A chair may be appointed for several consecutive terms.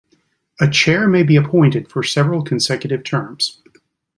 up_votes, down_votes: 2, 0